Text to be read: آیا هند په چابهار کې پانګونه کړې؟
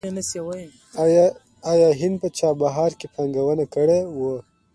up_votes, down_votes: 2, 0